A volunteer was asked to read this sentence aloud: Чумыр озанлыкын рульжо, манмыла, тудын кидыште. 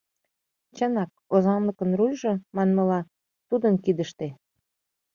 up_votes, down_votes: 1, 2